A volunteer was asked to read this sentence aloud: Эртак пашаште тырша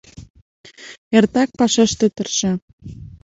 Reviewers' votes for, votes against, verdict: 2, 1, accepted